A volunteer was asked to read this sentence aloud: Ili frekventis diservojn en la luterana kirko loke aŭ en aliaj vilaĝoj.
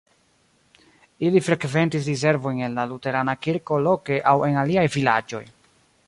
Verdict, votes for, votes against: accepted, 2, 0